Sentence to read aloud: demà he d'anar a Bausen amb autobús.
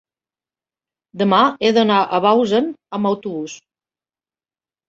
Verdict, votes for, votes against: accepted, 2, 0